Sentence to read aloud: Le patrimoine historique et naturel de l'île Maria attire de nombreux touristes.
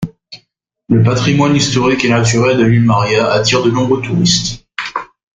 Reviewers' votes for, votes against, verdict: 2, 1, accepted